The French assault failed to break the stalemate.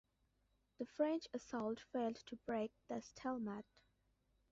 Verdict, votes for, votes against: accepted, 2, 0